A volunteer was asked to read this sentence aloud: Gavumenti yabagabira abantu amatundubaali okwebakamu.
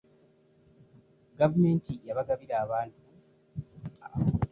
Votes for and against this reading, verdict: 0, 2, rejected